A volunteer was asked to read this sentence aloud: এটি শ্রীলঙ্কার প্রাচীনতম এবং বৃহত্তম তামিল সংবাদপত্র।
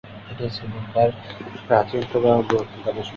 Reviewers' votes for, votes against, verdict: 0, 2, rejected